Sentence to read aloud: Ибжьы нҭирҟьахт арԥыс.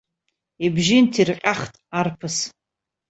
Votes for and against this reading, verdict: 2, 0, accepted